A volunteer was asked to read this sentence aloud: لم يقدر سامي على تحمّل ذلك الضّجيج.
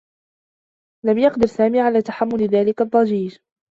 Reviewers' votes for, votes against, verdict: 2, 0, accepted